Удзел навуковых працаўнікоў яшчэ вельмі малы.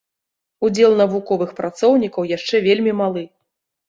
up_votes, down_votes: 0, 2